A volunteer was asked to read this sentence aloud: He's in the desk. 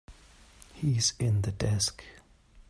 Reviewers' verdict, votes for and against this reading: accepted, 3, 0